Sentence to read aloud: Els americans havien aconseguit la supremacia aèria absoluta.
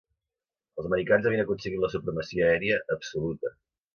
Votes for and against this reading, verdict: 2, 0, accepted